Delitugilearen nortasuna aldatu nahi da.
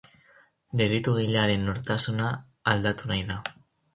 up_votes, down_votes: 2, 2